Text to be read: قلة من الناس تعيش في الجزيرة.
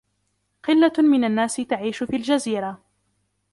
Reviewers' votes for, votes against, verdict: 2, 1, accepted